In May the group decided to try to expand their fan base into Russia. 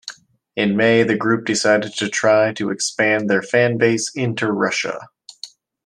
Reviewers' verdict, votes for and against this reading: accepted, 2, 0